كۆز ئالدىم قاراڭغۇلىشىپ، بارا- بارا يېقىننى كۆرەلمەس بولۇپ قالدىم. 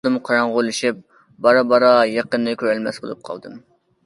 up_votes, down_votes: 0, 2